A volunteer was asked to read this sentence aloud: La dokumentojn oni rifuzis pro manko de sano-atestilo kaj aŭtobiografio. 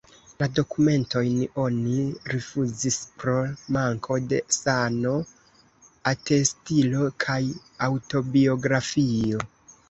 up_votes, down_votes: 2, 0